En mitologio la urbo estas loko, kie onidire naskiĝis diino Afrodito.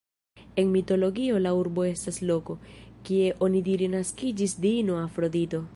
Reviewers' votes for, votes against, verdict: 2, 0, accepted